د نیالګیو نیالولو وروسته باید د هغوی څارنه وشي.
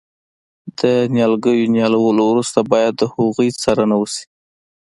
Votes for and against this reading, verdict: 2, 0, accepted